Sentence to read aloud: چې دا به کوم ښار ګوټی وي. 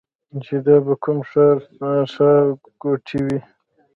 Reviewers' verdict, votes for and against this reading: rejected, 0, 2